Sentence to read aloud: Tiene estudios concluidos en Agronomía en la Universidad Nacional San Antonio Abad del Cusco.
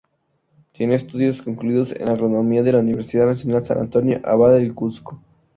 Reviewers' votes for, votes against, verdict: 0, 4, rejected